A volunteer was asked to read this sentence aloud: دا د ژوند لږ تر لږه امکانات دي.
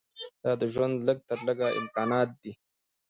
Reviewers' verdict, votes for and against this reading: rejected, 1, 2